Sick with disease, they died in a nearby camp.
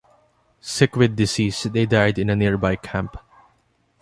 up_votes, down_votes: 2, 1